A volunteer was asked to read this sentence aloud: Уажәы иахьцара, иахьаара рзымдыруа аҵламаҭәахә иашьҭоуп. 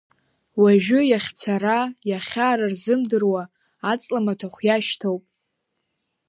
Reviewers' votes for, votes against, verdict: 1, 2, rejected